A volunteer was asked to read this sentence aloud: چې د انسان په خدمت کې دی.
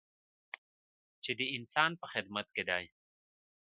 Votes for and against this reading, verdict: 0, 2, rejected